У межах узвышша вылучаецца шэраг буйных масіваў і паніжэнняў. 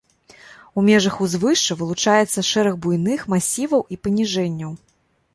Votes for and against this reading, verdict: 2, 0, accepted